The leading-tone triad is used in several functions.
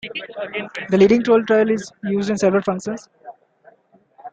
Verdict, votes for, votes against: accepted, 2, 1